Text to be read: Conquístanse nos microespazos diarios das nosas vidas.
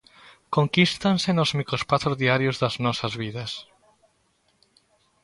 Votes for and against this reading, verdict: 2, 0, accepted